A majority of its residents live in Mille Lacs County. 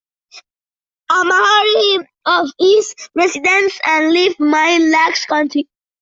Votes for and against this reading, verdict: 0, 2, rejected